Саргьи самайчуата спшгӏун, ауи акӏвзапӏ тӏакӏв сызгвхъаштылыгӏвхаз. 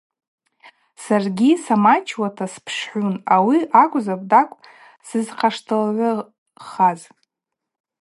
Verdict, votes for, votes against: rejected, 0, 2